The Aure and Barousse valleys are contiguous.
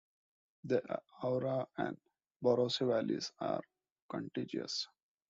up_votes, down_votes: 1, 2